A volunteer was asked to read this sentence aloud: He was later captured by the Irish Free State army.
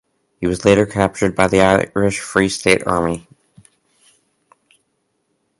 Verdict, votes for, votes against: rejected, 0, 2